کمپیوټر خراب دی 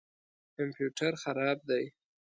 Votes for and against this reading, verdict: 2, 0, accepted